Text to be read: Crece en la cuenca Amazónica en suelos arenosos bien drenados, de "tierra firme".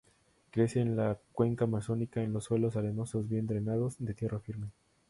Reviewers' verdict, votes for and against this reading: accepted, 2, 0